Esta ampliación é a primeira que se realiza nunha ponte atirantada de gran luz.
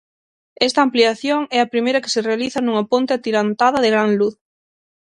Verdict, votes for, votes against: accepted, 6, 3